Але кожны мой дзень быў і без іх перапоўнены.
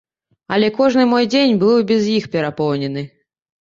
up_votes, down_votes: 2, 0